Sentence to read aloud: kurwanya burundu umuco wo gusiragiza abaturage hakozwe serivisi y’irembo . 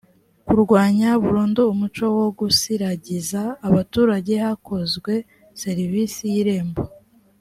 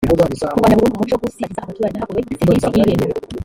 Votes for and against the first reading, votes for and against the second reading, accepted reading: 2, 0, 0, 2, first